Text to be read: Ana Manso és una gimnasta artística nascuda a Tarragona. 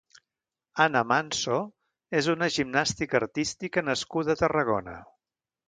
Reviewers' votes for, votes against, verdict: 1, 2, rejected